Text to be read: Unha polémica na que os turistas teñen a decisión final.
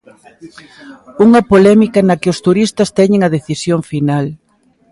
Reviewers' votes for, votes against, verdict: 0, 2, rejected